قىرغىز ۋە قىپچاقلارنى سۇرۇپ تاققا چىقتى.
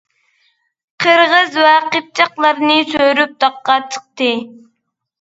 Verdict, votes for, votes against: rejected, 0, 2